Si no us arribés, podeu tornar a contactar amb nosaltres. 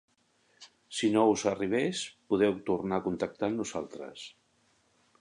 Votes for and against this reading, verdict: 3, 0, accepted